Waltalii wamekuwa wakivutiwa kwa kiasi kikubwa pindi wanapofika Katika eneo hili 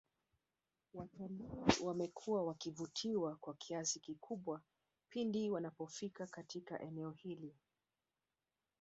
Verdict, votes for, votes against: rejected, 1, 2